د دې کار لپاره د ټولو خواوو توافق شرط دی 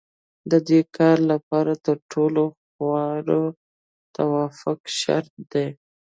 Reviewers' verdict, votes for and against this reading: rejected, 1, 2